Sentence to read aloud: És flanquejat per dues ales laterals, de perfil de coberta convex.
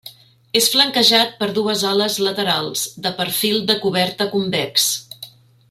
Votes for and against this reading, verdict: 3, 0, accepted